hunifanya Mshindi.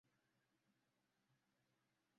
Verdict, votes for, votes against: rejected, 0, 2